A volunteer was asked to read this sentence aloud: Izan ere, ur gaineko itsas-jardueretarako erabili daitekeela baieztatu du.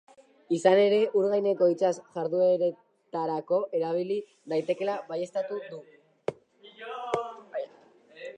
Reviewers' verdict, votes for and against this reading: rejected, 1, 2